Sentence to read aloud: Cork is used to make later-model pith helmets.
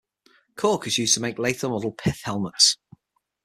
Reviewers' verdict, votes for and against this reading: accepted, 6, 3